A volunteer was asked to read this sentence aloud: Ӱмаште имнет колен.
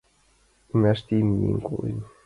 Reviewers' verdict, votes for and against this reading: rejected, 0, 2